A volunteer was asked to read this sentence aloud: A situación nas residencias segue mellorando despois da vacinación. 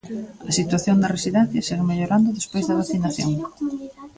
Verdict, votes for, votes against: rejected, 0, 2